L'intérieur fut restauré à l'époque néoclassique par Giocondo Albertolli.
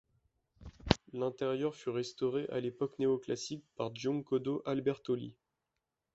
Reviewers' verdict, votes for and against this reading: rejected, 0, 2